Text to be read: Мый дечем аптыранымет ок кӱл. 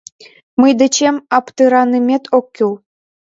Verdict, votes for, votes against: rejected, 0, 2